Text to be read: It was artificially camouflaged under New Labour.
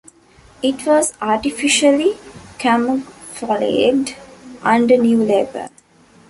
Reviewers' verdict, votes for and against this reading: rejected, 1, 2